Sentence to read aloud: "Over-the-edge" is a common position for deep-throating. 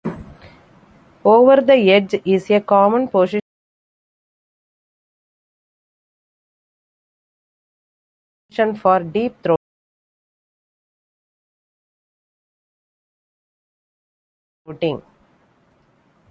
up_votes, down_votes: 0, 2